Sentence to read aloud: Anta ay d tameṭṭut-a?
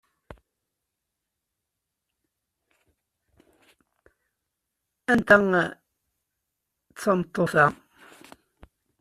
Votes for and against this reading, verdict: 1, 2, rejected